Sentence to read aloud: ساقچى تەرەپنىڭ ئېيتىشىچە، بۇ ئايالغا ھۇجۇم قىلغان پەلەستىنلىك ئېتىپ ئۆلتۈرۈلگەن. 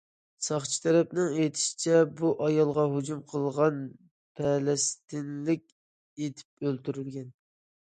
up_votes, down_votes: 2, 0